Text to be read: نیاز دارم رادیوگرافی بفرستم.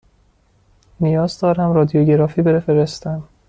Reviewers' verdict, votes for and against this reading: accepted, 2, 0